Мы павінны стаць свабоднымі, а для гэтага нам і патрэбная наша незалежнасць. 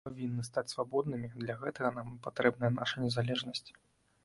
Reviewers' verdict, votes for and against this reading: rejected, 1, 2